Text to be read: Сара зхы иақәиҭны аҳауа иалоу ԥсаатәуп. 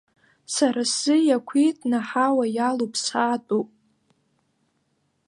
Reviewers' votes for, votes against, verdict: 0, 2, rejected